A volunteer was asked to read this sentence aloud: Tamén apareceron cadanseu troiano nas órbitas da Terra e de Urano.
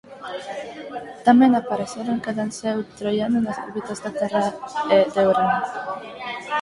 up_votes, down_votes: 0, 4